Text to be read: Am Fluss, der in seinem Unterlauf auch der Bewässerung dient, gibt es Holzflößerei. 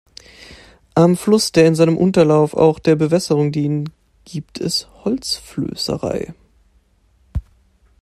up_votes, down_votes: 2, 0